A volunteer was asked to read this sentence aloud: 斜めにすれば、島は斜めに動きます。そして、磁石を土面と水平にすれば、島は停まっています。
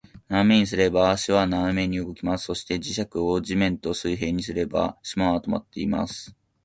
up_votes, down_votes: 0, 3